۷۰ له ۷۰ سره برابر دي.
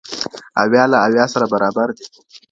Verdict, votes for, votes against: rejected, 0, 2